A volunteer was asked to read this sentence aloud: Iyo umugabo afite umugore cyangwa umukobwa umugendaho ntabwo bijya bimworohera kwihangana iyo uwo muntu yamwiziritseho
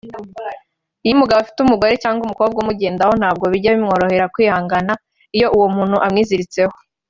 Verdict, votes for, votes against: rejected, 0, 2